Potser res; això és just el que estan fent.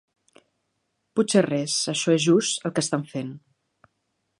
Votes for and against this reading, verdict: 2, 0, accepted